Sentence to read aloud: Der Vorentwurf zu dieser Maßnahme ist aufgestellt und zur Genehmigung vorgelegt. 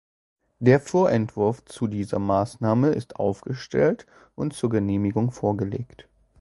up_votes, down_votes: 2, 0